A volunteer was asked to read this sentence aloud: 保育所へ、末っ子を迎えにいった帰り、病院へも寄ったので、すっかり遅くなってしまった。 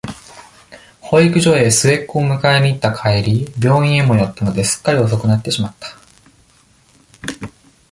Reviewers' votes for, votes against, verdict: 2, 0, accepted